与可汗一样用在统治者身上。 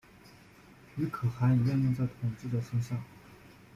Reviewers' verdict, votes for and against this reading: rejected, 0, 2